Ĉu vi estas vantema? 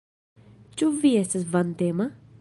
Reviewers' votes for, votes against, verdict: 2, 0, accepted